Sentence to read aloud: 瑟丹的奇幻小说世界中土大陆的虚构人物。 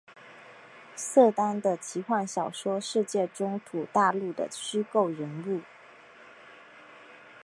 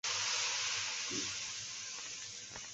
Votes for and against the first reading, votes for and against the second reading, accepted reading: 3, 0, 0, 3, first